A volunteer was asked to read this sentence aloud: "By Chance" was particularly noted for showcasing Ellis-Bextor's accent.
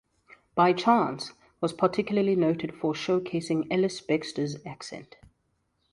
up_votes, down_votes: 2, 0